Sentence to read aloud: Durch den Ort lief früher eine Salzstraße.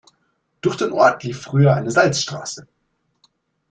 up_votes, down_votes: 2, 0